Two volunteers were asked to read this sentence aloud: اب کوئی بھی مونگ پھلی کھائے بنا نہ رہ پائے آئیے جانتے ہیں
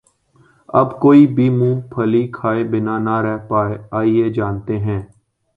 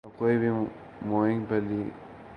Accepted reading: first